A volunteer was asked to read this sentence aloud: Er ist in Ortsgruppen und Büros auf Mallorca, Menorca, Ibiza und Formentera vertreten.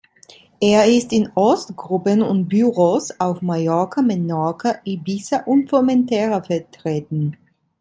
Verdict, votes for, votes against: rejected, 2, 3